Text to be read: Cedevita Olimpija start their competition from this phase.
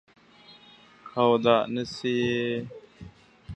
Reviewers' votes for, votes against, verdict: 0, 2, rejected